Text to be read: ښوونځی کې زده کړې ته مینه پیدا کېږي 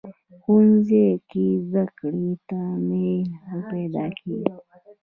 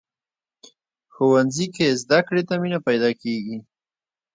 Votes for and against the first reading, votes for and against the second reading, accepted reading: 1, 2, 2, 0, second